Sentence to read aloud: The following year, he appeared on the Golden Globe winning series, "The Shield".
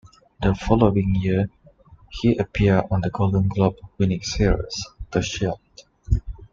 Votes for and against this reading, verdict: 2, 0, accepted